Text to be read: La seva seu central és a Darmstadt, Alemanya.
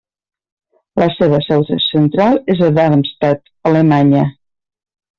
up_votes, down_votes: 0, 2